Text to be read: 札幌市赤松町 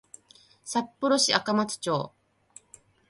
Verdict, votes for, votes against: accepted, 2, 0